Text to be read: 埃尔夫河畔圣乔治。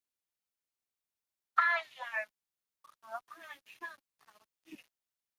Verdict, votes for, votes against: rejected, 0, 2